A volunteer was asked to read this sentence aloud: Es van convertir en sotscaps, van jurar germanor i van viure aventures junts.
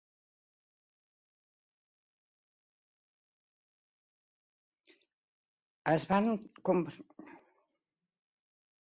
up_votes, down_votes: 0, 2